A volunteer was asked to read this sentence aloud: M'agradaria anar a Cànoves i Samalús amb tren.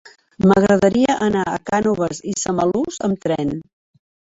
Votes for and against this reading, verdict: 0, 2, rejected